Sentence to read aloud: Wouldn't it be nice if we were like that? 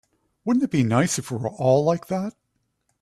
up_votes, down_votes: 1, 2